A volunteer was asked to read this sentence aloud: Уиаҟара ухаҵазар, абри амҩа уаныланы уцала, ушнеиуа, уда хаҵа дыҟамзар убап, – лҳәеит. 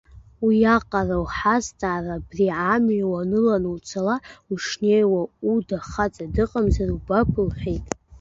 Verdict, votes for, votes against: rejected, 0, 2